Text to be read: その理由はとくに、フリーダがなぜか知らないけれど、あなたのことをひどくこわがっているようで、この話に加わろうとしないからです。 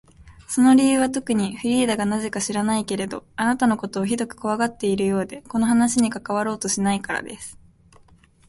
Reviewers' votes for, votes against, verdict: 2, 4, rejected